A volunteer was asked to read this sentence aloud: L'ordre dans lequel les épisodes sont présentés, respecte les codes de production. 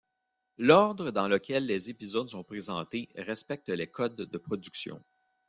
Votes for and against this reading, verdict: 2, 0, accepted